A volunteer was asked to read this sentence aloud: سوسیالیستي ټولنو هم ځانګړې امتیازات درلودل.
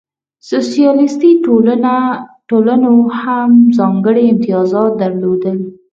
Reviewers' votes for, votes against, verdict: 0, 4, rejected